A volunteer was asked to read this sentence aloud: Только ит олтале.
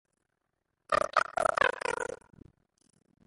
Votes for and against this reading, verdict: 0, 2, rejected